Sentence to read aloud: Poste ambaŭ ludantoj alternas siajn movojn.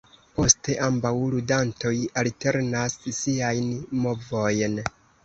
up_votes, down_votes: 1, 2